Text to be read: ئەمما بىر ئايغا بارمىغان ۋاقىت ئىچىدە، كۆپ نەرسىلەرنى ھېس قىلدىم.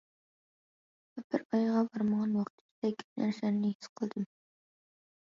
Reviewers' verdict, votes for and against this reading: rejected, 0, 2